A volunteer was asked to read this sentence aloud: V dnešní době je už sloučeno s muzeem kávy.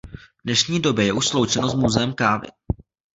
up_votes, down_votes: 2, 0